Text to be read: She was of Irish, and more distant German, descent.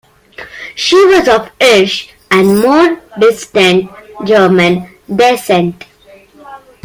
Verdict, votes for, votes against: rejected, 1, 2